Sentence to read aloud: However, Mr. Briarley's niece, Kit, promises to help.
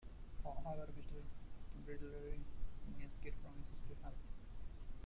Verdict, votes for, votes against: rejected, 0, 2